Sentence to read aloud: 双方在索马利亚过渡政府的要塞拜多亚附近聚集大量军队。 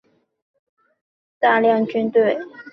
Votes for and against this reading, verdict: 0, 3, rejected